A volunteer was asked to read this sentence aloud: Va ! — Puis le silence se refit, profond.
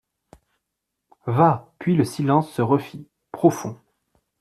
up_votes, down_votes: 2, 0